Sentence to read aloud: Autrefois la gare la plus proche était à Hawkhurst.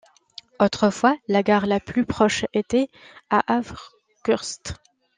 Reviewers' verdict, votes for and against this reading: accepted, 2, 1